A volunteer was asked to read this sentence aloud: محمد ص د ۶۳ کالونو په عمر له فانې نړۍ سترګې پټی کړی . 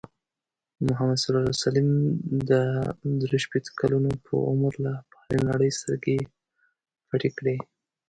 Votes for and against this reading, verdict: 0, 2, rejected